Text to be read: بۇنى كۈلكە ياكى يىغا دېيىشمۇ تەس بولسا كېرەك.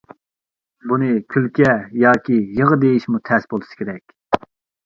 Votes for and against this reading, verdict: 2, 0, accepted